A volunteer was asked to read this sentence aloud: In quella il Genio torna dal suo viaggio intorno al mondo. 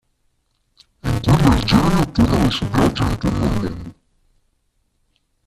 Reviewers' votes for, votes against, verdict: 0, 2, rejected